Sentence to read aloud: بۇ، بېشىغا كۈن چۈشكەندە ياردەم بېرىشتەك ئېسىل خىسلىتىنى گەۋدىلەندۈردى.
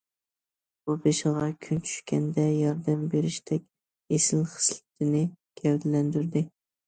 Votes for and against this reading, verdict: 2, 0, accepted